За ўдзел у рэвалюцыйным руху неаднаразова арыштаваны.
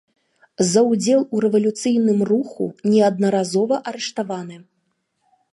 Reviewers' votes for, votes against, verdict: 3, 0, accepted